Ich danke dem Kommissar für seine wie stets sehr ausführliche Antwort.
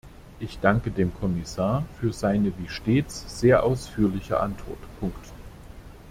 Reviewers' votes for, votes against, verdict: 2, 3, rejected